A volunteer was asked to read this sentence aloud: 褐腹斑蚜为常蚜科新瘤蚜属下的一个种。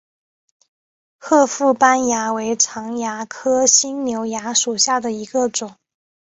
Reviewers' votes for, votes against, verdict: 4, 0, accepted